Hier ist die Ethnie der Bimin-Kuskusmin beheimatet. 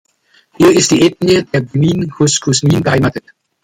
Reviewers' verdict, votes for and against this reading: accepted, 2, 0